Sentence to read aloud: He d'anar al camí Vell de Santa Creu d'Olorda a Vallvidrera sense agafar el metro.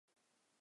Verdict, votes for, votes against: rejected, 0, 2